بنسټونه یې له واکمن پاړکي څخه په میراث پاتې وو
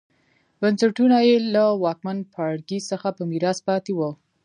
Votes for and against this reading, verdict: 2, 1, accepted